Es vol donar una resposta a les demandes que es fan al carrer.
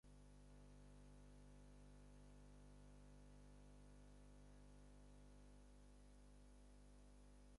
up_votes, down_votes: 0, 4